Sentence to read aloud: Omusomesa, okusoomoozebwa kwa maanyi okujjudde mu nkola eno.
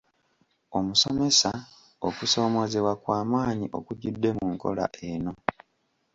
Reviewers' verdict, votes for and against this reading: accepted, 2, 0